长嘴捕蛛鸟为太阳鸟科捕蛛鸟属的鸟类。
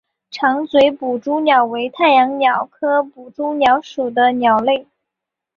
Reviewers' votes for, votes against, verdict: 9, 0, accepted